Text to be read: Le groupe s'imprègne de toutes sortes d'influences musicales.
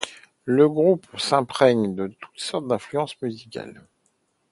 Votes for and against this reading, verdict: 2, 0, accepted